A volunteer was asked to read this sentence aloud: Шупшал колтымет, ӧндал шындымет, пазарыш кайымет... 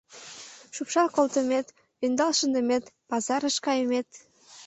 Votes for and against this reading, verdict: 2, 0, accepted